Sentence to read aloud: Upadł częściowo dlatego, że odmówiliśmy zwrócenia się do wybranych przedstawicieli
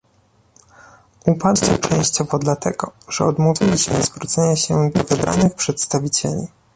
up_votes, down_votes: 0, 2